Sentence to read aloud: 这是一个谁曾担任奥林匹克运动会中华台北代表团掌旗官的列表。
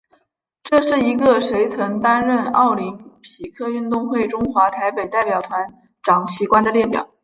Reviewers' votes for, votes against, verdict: 2, 0, accepted